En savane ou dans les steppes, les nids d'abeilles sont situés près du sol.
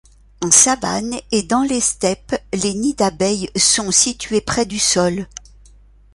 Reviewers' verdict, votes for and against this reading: rejected, 0, 2